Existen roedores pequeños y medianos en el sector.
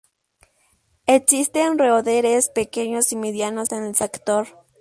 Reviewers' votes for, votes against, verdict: 0, 2, rejected